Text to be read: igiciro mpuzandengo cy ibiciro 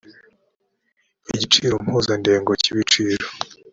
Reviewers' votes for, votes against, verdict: 2, 0, accepted